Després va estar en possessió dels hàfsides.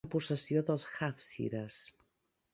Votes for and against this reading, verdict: 0, 2, rejected